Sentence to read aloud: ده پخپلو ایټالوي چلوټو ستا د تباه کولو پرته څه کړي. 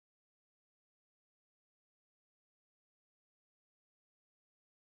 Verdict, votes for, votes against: rejected, 0, 2